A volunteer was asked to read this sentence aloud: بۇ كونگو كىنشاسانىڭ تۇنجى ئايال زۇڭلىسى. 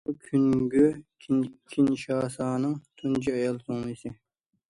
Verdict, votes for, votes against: rejected, 0, 2